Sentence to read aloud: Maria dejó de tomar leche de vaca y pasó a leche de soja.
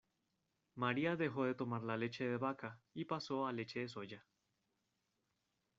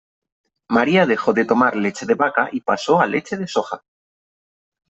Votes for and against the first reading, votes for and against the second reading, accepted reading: 1, 2, 4, 0, second